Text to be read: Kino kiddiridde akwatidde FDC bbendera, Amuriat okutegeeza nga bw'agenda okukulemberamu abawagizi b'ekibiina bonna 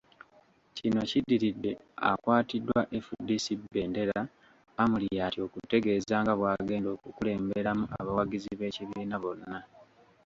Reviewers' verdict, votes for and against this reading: rejected, 1, 2